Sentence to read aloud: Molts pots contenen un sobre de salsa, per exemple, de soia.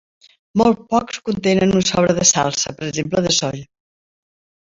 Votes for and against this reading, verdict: 0, 2, rejected